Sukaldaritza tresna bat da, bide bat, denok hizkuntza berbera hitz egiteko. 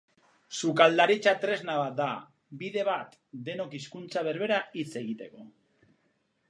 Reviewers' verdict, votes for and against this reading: accepted, 4, 0